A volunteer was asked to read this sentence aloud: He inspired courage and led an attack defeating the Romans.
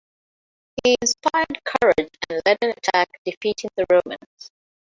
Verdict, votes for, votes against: rejected, 0, 2